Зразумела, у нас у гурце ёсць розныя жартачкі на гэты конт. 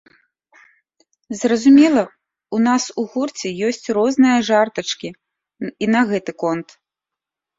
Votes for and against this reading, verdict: 0, 2, rejected